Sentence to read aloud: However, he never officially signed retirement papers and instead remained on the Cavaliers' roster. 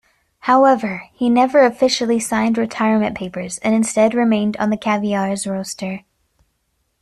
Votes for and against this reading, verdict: 1, 2, rejected